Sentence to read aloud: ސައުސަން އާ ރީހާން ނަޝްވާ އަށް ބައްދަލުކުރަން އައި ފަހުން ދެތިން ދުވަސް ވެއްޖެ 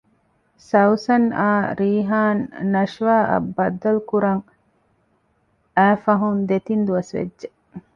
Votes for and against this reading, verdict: 2, 0, accepted